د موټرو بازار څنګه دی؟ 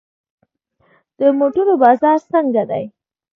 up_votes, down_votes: 2, 1